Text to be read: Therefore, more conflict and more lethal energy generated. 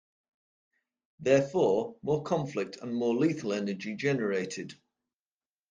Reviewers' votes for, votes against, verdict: 3, 0, accepted